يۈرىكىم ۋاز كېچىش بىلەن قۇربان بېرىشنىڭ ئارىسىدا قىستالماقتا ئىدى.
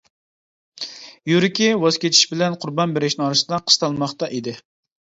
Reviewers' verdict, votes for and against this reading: rejected, 1, 2